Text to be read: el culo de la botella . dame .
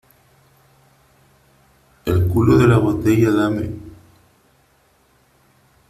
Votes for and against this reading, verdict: 2, 1, accepted